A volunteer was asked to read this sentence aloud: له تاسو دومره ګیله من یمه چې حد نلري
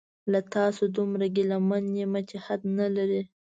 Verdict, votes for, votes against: accepted, 2, 0